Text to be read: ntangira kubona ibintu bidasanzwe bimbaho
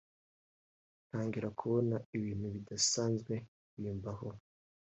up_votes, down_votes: 2, 1